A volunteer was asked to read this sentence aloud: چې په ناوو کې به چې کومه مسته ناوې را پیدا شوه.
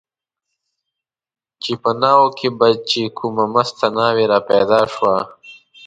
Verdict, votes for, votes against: rejected, 1, 2